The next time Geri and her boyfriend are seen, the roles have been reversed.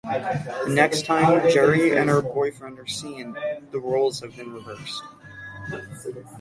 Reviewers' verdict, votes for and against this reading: rejected, 0, 6